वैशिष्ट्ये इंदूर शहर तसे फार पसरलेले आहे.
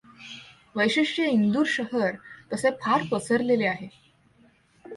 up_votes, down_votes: 2, 0